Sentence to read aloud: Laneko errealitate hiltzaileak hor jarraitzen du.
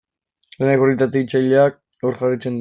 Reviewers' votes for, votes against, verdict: 0, 2, rejected